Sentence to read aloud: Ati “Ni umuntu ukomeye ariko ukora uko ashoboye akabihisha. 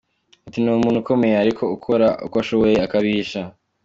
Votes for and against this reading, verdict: 2, 0, accepted